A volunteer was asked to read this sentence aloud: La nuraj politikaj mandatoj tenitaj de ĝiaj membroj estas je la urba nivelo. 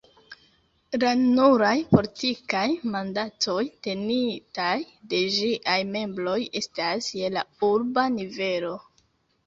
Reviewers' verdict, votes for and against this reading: rejected, 0, 2